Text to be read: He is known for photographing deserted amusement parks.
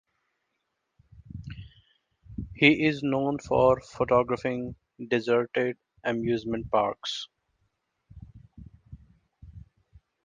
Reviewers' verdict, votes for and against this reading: accepted, 2, 0